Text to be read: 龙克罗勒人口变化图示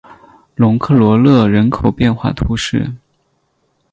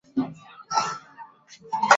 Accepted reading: first